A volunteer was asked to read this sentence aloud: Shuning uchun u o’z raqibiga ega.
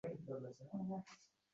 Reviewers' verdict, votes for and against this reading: rejected, 0, 2